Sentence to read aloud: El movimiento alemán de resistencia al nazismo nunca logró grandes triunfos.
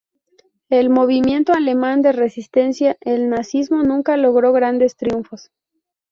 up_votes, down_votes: 0, 2